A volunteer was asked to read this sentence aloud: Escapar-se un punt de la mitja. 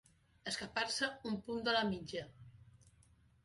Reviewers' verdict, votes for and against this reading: accepted, 3, 0